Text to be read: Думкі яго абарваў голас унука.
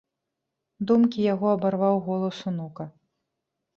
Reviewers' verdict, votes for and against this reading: accepted, 2, 0